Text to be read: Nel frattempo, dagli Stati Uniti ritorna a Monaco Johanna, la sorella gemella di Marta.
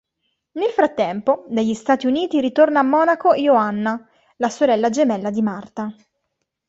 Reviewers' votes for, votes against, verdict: 2, 1, accepted